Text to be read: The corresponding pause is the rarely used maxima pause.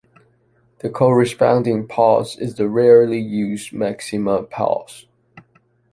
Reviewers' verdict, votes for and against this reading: accepted, 2, 0